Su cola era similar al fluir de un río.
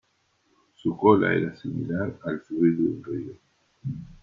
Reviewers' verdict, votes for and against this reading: rejected, 1, 2